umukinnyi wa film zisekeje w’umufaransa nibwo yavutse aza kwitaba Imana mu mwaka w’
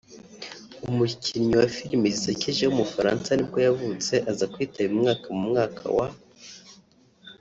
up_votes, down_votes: 0, 2